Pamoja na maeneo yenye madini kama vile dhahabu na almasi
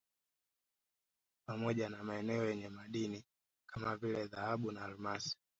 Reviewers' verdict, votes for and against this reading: rejected, 1, 2